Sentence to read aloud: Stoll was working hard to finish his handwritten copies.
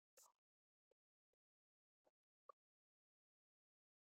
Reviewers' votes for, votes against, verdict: 0, 2, rejected